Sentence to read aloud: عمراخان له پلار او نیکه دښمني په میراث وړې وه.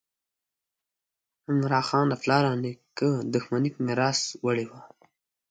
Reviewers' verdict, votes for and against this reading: accepted, 2, 0